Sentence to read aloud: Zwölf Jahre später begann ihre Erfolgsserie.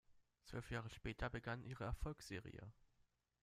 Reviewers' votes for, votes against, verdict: 2, 0, accepted